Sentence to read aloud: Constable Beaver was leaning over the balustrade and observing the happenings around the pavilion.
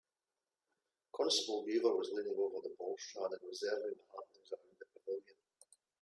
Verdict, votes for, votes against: rejected, 1, 2